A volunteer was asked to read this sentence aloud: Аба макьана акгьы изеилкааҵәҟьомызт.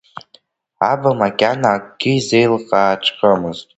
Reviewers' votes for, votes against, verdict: 2, 0, accepted